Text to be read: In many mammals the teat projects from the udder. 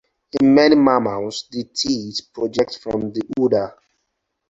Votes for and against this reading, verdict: 4, 0, accepted